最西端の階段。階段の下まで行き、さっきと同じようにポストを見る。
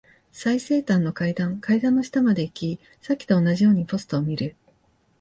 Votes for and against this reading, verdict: 2, 1, accepted